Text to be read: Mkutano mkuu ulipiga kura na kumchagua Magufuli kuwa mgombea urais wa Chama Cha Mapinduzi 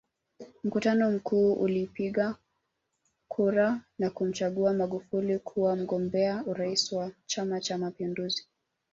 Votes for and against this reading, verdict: 1, 2, rejected